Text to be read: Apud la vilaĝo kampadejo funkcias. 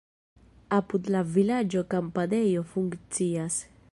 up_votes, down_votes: 2, 0